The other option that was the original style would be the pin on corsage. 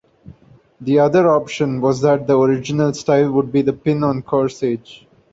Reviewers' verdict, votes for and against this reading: rejected, 0, 2